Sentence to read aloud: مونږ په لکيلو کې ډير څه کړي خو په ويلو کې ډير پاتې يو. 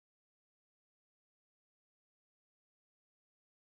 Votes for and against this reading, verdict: 0, 2, rejected